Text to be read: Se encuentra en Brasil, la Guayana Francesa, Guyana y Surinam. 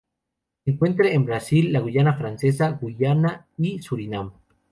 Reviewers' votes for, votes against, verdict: 0, 2, rejected